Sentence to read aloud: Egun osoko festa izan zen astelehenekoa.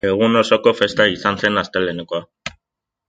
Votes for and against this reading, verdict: 2, 0, accepted